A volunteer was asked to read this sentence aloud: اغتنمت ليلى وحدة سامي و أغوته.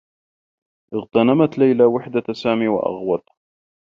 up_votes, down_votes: 2, 1